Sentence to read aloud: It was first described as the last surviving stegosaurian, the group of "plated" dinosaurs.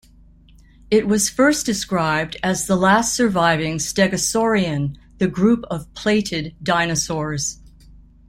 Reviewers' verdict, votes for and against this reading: accepted, 2, 0